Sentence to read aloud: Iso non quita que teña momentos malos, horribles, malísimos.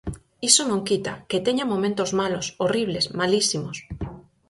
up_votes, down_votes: 4, 0